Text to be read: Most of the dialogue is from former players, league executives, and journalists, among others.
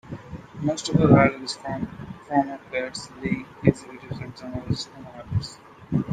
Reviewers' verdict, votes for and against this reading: rejected, 1, 2